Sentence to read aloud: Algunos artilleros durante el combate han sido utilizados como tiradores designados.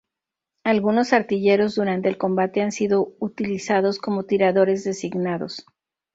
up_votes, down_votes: 2, 0